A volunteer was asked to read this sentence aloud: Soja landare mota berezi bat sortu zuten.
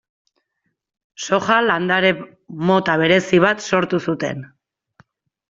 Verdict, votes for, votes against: accepted, 2, 0